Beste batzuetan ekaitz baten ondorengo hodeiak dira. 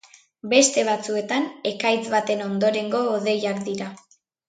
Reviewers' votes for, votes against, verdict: 2, 0, accepted